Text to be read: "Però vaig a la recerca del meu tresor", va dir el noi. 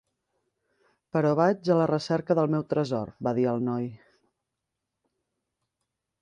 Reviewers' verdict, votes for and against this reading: accepted, 3, 0